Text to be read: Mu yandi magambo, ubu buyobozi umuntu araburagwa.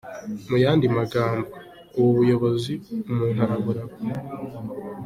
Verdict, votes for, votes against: accepted, 2, 0